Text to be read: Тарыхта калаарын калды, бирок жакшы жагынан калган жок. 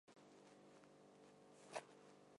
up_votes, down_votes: 1, 2